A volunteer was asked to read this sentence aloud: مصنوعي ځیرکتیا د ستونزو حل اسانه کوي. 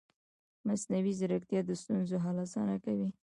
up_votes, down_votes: 0, 2